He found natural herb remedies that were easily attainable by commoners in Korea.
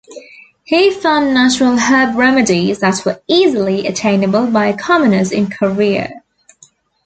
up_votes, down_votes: 2, 0